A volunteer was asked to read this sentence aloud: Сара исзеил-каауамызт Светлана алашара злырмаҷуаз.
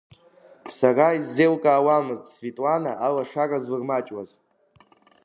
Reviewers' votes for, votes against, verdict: 2, 0, accepted